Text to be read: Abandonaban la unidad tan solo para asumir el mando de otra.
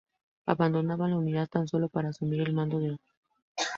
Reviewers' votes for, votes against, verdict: 0, 2, rejected